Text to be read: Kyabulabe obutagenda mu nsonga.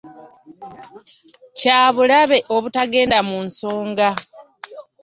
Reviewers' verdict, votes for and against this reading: accepted, 2, 0